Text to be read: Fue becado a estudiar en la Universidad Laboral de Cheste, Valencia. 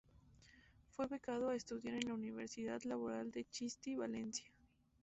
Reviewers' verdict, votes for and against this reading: rejected, 0, 2